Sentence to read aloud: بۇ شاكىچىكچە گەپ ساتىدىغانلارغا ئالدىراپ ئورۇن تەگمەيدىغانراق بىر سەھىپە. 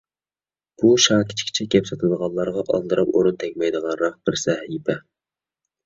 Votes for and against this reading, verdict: 2, 0, accepted